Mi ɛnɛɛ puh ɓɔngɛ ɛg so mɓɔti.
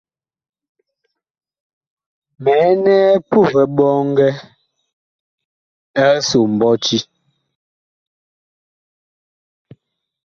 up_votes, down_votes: 2, 0